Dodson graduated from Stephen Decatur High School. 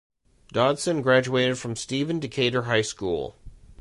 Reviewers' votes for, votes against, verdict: 2, 0, accepted